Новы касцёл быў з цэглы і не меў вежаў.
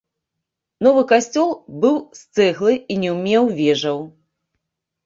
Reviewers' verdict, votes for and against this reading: rejected, 1, 2